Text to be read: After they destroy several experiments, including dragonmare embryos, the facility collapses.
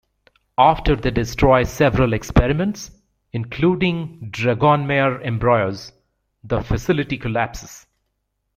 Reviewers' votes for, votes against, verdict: 1, 2, rejected